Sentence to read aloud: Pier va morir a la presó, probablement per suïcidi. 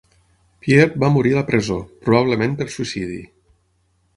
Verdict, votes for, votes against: accepted, 6, 0